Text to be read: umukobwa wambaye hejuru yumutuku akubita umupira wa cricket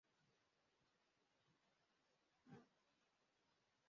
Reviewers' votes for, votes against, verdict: 0, 2, rejected